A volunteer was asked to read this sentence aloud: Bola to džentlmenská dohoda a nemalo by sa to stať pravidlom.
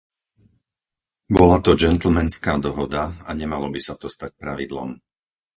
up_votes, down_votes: 2, 2